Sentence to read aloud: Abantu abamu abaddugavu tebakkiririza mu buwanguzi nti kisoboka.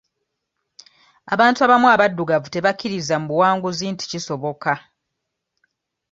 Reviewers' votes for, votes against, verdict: 1, 2, rejected